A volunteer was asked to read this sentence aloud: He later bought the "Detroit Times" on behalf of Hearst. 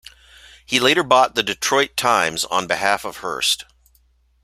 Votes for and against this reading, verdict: 2, 0, accepted